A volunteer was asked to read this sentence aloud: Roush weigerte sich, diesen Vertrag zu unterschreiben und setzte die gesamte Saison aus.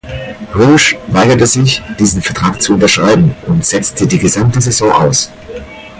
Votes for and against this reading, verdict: 4, 0, accepted